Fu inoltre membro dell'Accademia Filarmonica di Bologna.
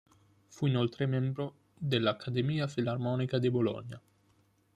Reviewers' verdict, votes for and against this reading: rejected, 0, 2